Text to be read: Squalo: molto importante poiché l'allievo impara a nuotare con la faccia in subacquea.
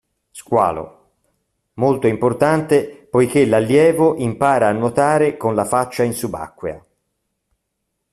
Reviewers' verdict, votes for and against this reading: accepted, 2, 0